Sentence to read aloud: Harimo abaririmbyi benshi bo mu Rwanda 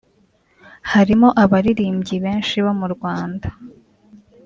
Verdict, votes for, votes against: rejected, 1, 2